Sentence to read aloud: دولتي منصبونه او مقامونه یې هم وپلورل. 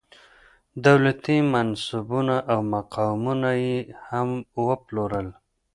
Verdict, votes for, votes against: accepted, 3, 0